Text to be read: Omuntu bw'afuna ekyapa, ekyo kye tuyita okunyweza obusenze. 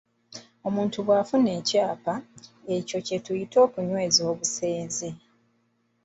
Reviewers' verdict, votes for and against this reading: accepted, 2, 0